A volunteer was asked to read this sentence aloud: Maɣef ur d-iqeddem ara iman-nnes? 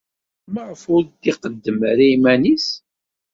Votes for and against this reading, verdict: 1, 2, rejected